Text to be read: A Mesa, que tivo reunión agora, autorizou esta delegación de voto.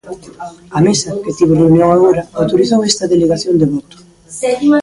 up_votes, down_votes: 1, 2